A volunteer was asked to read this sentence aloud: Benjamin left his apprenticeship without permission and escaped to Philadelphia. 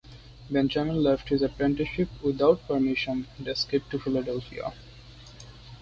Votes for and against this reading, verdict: 2, 0, accepted